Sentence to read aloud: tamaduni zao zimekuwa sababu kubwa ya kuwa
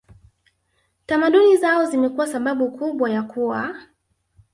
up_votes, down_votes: 3, 0